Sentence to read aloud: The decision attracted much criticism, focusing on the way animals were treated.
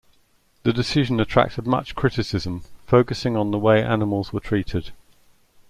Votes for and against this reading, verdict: 2, 0, accepted